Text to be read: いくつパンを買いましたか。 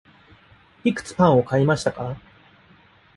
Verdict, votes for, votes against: rejected, 1, 2